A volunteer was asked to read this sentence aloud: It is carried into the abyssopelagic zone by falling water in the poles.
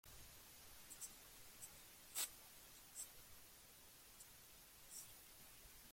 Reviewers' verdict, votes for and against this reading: rejected, 0, 2